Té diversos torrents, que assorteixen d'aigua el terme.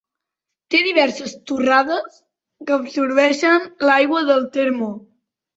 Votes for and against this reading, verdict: 0, 2, rejected